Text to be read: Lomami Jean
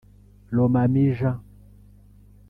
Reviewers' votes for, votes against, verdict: 0, 2, rejected